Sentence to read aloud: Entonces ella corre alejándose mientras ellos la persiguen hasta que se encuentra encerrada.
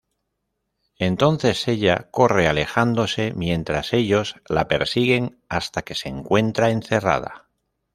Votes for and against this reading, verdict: 2, 0, accepted